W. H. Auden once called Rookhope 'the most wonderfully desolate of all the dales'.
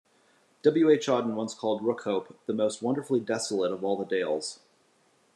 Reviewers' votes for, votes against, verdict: 2, 1, accepted